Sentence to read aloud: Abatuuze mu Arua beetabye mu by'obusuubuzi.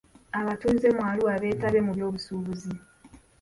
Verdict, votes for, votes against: accepted, 2, 0